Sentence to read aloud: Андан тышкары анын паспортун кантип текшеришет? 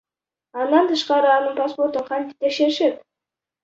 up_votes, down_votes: 0, 2